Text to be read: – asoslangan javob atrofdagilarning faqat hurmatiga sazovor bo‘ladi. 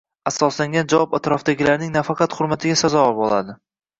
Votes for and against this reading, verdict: 1, 2, rejected